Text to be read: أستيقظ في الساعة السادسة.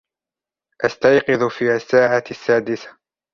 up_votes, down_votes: 0, 2